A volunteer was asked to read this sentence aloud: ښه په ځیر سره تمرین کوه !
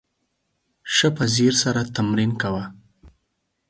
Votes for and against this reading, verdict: 4, 0, accepted